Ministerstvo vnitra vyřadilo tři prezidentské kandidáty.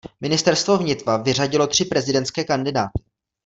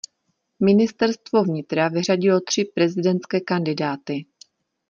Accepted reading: second